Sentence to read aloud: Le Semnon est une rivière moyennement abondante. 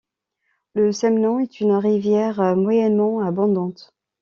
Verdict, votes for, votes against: accepted, 2, 1